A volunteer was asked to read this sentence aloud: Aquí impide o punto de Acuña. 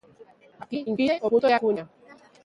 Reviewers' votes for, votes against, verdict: 0, 2, rejected